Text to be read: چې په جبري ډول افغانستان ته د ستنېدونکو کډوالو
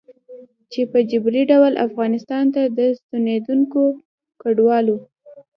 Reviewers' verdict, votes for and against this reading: accepted, 2, 0